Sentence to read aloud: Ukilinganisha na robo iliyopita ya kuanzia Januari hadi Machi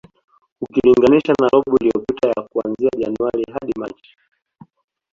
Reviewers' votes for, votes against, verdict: 2, 0, accepted